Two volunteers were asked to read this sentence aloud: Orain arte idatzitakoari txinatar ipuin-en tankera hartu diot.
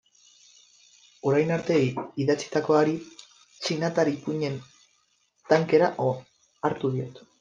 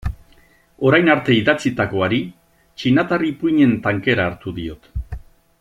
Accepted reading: second